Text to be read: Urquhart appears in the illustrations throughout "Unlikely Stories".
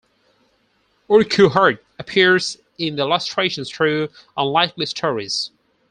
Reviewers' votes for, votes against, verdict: 0, 4, rejected